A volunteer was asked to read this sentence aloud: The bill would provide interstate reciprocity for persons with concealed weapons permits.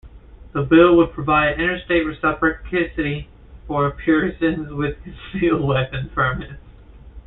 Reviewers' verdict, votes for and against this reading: rejected, 0, 2